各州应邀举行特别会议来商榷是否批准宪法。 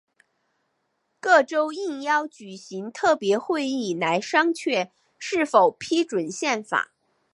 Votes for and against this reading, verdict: 3, 2, accepted